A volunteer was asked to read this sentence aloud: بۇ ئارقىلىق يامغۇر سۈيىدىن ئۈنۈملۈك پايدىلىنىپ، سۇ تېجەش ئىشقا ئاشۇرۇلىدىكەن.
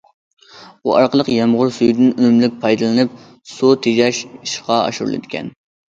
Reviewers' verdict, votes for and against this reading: accepted, 2, 0